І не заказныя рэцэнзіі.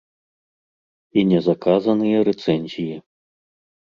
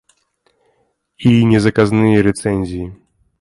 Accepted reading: second